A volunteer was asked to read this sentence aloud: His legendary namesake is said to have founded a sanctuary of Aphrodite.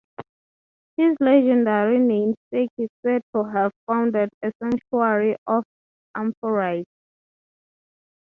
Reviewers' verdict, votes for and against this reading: rejected, 0, 6